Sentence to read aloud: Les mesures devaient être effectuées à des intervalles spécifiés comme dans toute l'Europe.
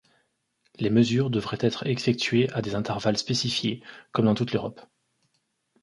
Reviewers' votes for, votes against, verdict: 1, 2, rejected